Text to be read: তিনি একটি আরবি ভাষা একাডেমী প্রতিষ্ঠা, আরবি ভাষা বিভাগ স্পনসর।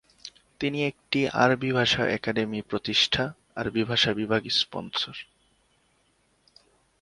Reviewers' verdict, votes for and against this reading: accepted, 2, 0